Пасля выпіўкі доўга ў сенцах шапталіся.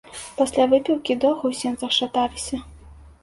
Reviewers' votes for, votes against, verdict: 0, 2, rejected